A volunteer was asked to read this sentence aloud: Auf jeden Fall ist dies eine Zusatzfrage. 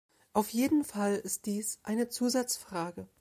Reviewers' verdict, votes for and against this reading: accepted, 2, 0